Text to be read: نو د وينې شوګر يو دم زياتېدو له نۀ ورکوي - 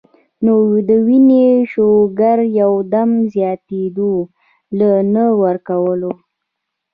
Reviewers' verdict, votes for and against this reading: rejected, 1, 2